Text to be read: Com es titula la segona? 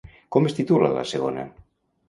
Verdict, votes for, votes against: accepted, 2, 0